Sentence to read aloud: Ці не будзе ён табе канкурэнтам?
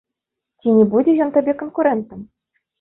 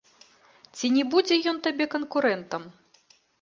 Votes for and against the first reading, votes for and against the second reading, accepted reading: 2, 1, 0, 2, first